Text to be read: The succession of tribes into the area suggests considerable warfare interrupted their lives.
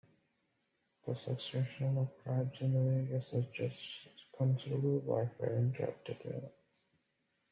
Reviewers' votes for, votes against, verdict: 0, 2, rejected